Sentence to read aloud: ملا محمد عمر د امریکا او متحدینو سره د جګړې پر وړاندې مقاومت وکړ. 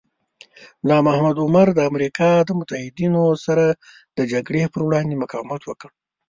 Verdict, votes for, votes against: rejected, 1, 2